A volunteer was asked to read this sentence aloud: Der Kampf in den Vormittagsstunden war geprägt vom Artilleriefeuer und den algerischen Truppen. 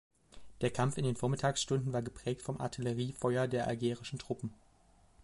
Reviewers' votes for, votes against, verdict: 0, 2, rejected